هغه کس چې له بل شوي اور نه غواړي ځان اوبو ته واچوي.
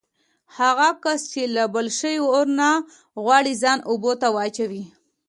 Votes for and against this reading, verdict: 2, 0, accepted